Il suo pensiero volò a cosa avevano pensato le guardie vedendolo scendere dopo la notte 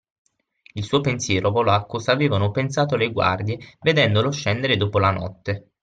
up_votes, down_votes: 6, 3